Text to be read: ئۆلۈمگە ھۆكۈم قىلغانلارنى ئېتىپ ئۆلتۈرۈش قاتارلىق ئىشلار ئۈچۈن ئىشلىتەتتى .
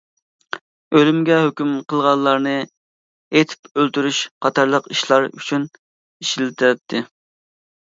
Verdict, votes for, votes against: accepted, 2, 0